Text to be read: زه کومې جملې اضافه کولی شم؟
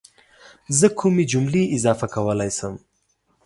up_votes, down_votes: 2, 0